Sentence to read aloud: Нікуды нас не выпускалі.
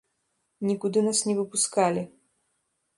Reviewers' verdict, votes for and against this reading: rejected, 1, 2